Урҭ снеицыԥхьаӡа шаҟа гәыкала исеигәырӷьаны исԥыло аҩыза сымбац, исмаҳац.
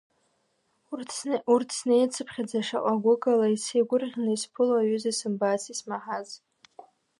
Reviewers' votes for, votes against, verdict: 2, 1, accepted